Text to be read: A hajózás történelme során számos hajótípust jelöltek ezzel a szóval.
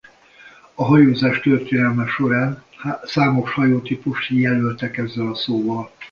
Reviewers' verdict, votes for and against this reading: rejected, 0, 2